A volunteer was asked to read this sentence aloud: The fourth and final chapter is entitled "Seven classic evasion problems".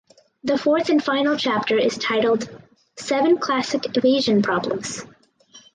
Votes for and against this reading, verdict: 2, 0, accepted